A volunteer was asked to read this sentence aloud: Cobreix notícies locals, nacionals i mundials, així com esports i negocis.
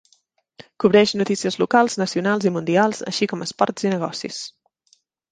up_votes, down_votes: 3, 0